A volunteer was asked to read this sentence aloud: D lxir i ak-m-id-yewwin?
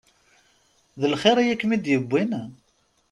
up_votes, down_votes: 2, 0